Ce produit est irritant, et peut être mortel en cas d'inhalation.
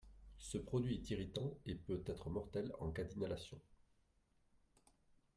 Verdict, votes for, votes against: rejected, 1, 2